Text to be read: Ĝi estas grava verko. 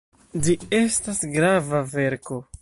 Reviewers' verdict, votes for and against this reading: accepted, 2, 1